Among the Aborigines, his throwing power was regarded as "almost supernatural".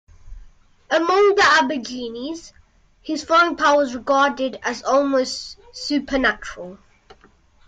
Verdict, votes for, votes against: rejected, 0, 2